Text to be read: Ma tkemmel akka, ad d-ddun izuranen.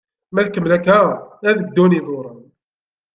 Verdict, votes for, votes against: rejected, 0, 2